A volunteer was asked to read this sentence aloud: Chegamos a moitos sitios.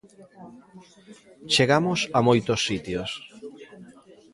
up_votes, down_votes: 1, 2